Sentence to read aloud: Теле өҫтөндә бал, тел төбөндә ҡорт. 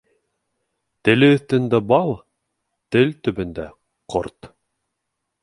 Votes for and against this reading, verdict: 2, 0, accepted